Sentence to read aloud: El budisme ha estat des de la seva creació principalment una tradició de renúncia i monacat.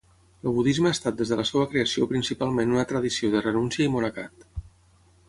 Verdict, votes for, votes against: rejected, 3, 6